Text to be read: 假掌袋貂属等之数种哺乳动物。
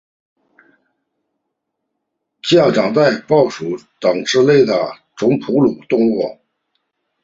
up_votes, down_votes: 0, 2